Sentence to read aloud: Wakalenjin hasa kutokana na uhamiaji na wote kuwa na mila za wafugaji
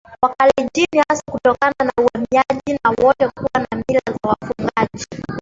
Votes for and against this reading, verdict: 0, 2, rejected